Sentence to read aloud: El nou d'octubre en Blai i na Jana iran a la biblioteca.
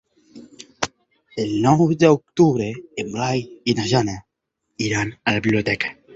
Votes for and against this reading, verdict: 4, 0, accepted